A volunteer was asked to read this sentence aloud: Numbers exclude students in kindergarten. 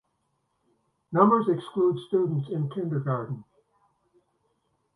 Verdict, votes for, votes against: accepted, 2, 0